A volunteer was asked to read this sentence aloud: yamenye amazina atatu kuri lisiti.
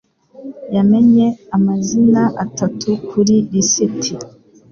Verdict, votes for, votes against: accepted, 3, 0